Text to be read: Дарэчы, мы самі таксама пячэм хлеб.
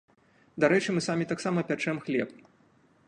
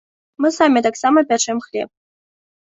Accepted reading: first